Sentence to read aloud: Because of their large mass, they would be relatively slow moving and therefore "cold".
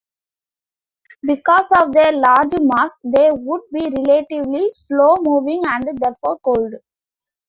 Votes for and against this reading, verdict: 1, 2, rejected